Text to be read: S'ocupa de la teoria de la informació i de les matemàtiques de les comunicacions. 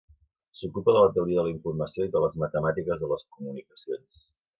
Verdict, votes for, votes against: accepted, 3, 0